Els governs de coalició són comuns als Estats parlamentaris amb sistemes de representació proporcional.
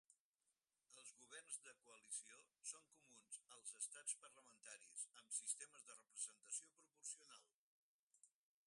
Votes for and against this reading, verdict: 2, 4, rejected